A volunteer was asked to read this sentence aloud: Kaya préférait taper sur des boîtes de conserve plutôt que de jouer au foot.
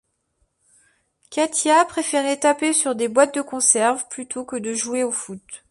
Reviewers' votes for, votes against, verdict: 1, 2, rejected